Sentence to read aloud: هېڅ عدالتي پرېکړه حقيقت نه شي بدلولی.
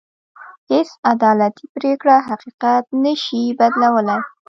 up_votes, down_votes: 0, 2